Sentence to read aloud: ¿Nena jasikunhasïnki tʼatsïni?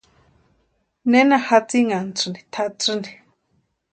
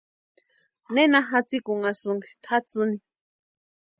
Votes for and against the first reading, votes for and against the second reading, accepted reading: 0, 2, 2, 0, second